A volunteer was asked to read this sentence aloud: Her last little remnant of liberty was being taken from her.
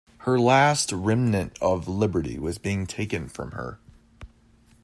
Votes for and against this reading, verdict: 2, 0, accepted